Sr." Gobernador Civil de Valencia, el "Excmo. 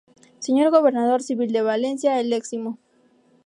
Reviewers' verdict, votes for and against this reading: rejected, 0, 2